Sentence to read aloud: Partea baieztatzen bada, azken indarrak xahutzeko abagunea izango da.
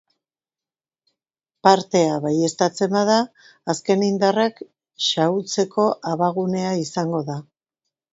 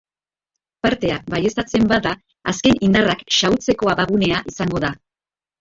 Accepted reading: first